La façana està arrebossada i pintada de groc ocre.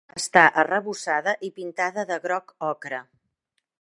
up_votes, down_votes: 1, 2